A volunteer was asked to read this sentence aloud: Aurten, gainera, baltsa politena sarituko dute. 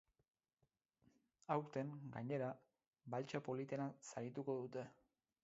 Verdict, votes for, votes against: rejected, 0, 2